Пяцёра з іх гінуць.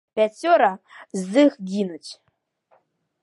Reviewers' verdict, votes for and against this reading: accepted, 2, 0